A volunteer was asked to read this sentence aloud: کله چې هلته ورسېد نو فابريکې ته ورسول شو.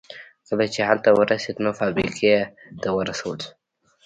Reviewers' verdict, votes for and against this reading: rejected, 0, 2